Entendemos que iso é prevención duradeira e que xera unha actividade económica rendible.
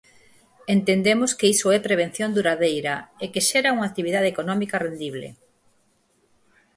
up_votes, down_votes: 4, 0